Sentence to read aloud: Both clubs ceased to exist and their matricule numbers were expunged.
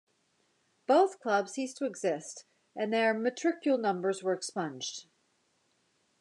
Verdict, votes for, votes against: accepted, 2, 0